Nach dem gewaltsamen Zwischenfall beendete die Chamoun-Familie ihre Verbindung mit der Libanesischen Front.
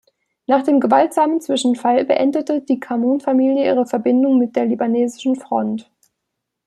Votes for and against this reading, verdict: 2, 0, accepted